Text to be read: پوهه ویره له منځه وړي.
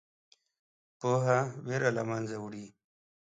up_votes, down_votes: 2, 0